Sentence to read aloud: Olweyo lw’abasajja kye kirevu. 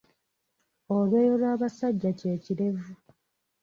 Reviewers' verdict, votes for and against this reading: rejected, 1, 2